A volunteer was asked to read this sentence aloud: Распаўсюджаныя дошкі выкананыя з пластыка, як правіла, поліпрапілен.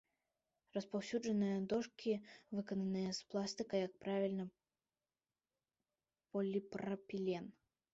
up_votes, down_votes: 0, 2